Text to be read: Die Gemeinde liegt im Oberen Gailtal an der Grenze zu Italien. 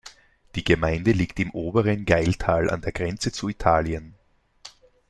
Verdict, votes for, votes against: accepted, 2, 0